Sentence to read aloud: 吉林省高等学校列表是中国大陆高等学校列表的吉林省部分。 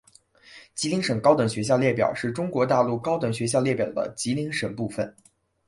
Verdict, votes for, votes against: rejected, 2, 3